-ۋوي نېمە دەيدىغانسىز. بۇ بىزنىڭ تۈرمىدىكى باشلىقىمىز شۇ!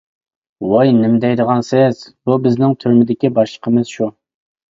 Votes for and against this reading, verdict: 2, 0, accepted